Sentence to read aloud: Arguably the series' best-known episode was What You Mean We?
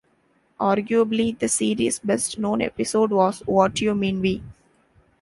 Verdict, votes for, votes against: accepted, 2, 0